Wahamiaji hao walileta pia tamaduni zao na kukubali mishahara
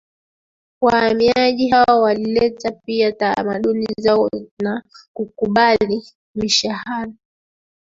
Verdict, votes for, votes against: rejected, 1, 3